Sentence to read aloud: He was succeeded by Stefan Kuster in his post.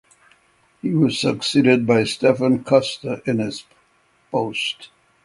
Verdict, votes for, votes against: accepted, 6, 0